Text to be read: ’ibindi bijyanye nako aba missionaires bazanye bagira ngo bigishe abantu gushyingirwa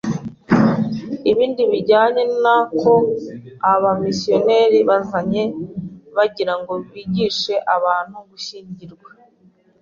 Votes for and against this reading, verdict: 2, 0, accepted